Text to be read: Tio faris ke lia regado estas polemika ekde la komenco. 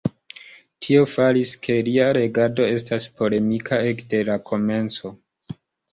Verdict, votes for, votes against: accepted, 2, 0